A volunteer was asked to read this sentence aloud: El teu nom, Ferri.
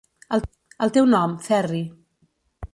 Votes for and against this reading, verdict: 1, 2, rejected